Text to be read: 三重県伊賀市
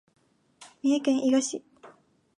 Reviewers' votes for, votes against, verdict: 2, 0, accepted